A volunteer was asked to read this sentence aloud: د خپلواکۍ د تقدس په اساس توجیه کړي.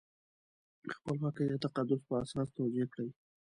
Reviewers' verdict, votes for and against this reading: rejected, 0, 2